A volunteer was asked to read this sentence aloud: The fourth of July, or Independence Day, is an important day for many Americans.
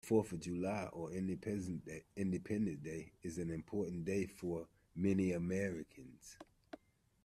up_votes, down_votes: 0, 2